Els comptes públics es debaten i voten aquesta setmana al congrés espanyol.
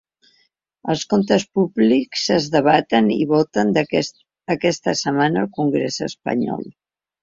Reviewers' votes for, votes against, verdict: 0, 2, rejected